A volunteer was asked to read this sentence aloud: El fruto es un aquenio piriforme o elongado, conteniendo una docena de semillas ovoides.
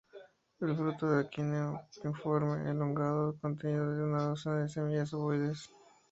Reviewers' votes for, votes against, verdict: 2, 0, accepted